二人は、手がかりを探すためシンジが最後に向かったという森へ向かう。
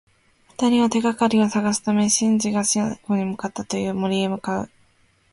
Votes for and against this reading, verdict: 0, 2, rejected